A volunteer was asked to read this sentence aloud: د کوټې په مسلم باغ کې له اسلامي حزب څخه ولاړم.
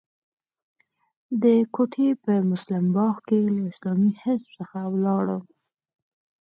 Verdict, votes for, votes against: accepted, 4, 2